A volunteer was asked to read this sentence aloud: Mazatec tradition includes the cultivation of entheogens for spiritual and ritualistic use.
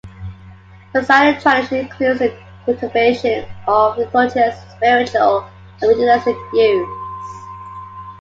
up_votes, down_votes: 0, 2